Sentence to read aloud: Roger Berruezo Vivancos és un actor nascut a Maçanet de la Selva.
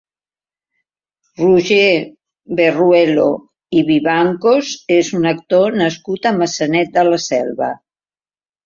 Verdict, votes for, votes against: rejected, 0, 2